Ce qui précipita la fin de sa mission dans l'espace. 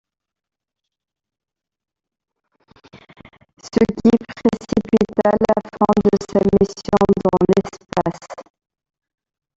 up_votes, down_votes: 0, 2